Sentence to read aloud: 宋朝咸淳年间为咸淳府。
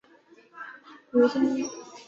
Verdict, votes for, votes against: rejected, 0, 2